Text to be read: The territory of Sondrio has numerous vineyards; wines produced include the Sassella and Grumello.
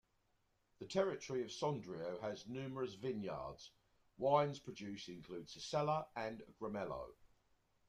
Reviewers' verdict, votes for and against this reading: rejected, 1, 2